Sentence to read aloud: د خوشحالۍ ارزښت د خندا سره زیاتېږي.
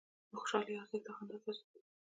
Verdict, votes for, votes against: accepted, 3, 0